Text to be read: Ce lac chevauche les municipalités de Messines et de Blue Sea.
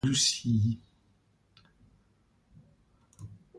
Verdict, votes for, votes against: rejected, 0, 2